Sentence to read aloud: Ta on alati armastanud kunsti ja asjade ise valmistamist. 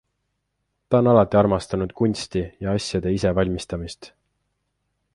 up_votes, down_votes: 2, 0